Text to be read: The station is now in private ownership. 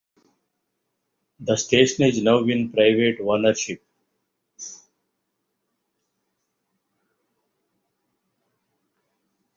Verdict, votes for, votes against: accepted, 2, 1